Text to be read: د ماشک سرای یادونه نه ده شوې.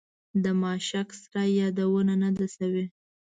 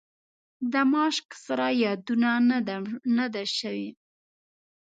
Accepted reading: first